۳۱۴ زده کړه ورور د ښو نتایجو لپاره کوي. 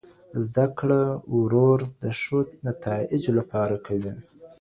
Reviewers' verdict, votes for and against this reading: rejected, 0, 2